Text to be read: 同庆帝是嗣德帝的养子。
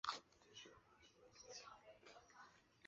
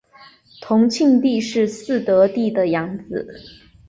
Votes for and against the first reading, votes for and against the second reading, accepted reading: 0, 3, 3, 0, second